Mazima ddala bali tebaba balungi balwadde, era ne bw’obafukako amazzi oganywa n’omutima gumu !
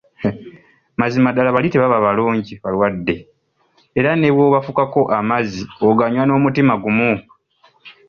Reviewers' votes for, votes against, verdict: 2, 0, accepted